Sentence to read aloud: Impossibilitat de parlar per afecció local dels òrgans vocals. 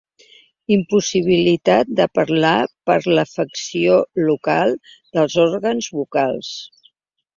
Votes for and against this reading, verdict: 2, 0, accepted